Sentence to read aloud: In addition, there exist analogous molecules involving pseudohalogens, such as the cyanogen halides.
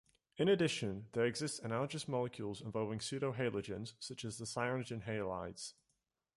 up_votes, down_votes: 2, 0